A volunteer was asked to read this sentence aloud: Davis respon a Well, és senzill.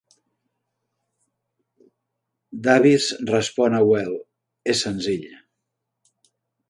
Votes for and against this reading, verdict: 4, 0, accepted